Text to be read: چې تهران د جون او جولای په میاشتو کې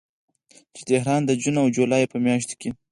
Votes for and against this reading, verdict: 2, 4, rejected